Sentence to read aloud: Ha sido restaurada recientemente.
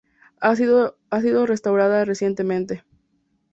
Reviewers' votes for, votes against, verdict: 2, 2, rejected